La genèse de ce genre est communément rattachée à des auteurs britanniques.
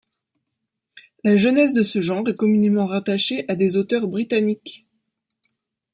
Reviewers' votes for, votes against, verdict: 2, 0, accepted